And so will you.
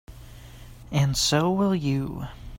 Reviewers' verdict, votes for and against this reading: accepted, 2, 0